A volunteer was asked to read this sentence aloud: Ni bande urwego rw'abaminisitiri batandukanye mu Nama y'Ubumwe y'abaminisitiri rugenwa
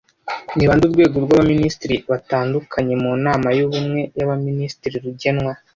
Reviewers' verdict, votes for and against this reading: accepted, 2, 0